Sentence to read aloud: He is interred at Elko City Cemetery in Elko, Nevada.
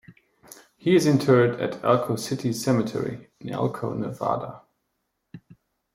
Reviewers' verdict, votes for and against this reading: accepted, 2, 0